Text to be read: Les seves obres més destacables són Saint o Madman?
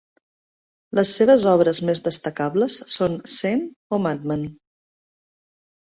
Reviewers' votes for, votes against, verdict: 2, 0, accepted